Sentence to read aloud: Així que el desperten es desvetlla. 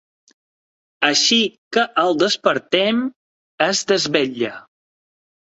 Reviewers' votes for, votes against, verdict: 0, 2, rejected